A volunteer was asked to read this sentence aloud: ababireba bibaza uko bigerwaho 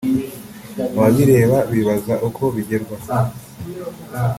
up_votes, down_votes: 3, 0